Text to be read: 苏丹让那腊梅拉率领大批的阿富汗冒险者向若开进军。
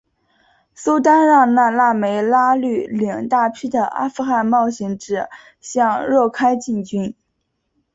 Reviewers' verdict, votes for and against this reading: accepted, 4, 1